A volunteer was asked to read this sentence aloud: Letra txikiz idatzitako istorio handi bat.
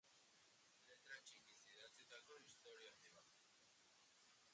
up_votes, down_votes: 0, 4